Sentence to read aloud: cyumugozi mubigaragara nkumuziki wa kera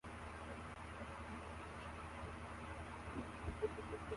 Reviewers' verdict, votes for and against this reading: rejected, 0, 2